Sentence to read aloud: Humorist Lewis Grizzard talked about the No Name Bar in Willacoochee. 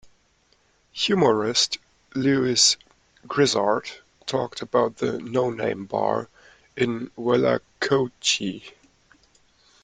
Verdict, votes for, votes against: accepted, 2, 0